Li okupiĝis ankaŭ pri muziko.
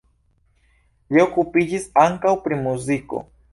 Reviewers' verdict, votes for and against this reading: accepted, 2, 0